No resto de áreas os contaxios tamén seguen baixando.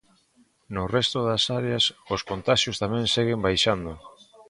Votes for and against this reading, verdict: 0, 2, rejected